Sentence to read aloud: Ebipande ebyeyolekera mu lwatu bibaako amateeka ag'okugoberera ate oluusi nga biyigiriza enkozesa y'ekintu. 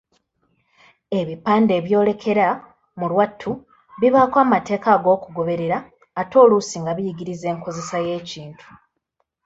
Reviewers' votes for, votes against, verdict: 1, 2, rejected